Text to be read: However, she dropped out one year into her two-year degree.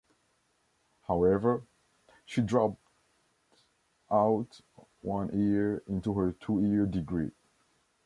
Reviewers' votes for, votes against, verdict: 2, 0, accepted